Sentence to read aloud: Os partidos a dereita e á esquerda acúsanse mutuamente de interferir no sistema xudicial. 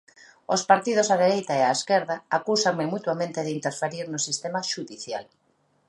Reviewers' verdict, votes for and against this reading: rejected, 0, 2